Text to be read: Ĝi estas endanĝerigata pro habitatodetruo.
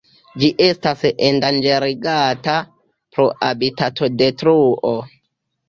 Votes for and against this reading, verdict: 1, 2, rejected